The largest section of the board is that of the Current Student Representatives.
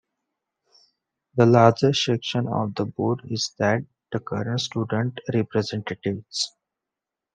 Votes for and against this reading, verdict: 2, 1, accepted